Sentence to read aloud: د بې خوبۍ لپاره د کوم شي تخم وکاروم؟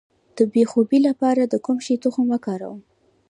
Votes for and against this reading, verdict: 2, 1, accepted